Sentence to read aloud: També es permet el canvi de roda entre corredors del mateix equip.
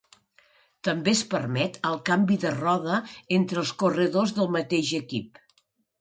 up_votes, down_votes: 0, 2